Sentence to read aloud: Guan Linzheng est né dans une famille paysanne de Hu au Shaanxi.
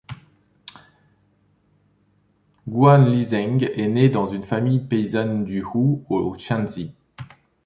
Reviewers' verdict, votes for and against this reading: rejected, 0, 2